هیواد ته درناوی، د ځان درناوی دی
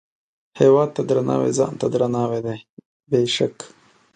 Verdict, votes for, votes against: rejected, 1, 2